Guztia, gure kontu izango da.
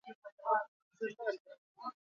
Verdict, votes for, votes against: rejected, 0, 2